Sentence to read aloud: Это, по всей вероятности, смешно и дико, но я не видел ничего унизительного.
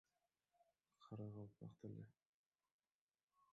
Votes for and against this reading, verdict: 1, 2, rejected